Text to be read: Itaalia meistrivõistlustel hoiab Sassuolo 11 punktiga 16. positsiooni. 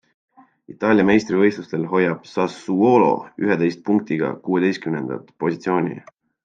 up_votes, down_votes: 0, 2